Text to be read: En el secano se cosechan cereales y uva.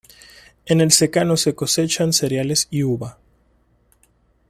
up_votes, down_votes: 2, 1